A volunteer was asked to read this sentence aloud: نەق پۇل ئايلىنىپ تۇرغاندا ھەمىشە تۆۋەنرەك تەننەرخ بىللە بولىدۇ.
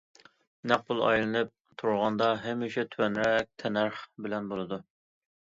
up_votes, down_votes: 2, 0